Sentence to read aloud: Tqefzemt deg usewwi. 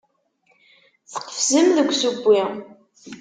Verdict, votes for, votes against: rejected, 1, 2